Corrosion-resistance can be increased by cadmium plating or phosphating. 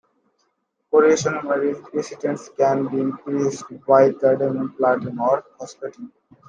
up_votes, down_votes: 2, 1